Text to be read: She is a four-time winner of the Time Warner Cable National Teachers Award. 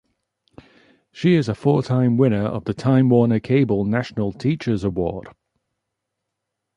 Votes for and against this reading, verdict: 3, 0, accepted